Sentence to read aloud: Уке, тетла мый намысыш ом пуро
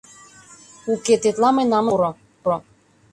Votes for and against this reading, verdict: 0, 2, rejected